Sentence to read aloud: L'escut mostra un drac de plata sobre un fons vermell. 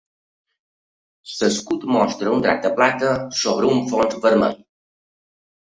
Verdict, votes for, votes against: rejected, 1, 2